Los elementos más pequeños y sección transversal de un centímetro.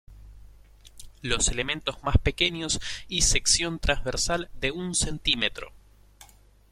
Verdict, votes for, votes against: accepted, 2, 0